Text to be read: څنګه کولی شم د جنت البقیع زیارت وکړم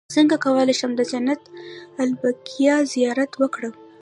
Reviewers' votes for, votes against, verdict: 2, 0, accepted